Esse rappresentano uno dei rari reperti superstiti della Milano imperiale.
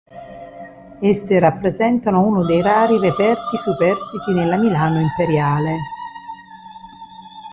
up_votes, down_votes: 0, 2